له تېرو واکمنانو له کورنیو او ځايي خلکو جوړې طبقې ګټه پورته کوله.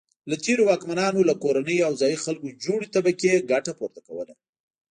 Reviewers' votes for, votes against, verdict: 2, 1, accepted